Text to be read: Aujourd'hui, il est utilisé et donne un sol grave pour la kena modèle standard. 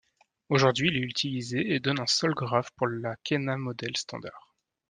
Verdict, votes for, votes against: rejected, 1, 2